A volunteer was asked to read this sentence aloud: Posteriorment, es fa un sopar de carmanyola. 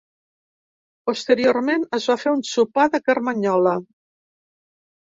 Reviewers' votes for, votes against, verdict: 1, 2, rejected